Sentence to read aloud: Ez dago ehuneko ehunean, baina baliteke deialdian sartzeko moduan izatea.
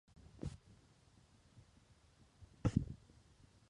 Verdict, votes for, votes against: rejected, 0, 2